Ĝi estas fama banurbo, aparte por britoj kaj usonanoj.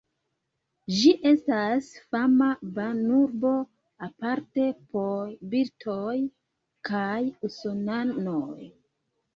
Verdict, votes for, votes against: rejected, 1, 2